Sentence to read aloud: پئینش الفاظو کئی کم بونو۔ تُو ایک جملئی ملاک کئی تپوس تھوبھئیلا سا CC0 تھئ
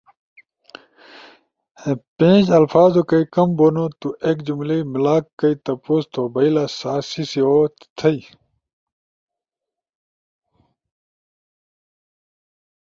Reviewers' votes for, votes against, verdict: 0, 2, rejected